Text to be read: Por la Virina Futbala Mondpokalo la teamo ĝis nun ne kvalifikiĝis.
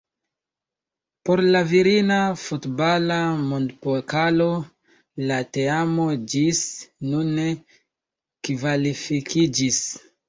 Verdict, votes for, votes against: accepted, 2, 0